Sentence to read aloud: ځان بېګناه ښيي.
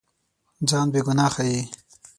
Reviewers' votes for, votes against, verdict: 3, 6, rejected